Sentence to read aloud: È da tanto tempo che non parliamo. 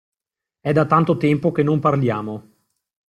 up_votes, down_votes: 2, 0